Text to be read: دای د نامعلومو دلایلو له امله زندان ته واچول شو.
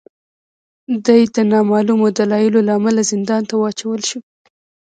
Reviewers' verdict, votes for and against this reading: accepted, 2, 0